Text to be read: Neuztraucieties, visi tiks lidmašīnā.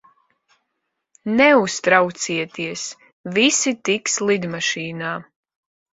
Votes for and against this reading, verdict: 2, 0, accepted